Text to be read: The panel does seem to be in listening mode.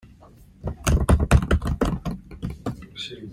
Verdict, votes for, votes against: rejected, 0, 2